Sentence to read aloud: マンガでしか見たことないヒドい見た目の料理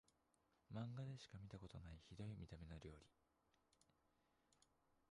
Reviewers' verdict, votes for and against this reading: rejected, 1, 2